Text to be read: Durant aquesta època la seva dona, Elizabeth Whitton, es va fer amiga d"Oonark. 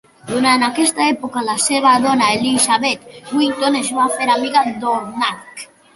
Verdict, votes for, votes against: accepted, 2, 0